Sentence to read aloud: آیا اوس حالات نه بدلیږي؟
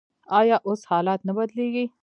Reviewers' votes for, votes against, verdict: 2, 0, accepted